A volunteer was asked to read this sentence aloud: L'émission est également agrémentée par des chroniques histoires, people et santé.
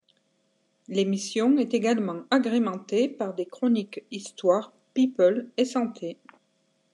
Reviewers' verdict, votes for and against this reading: accepted, 2, 0